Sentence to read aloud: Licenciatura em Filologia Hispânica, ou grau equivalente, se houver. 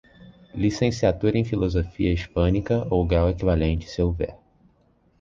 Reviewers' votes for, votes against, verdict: 1, 2, rejected